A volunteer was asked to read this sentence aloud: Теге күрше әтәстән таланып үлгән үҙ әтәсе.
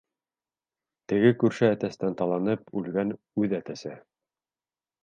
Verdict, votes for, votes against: accepted, 3, 0